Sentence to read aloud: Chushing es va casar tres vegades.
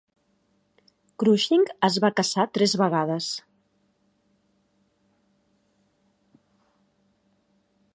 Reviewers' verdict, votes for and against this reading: rejected, 1, 2